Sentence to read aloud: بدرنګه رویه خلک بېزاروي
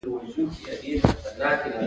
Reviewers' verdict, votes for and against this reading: rejected, 0, 2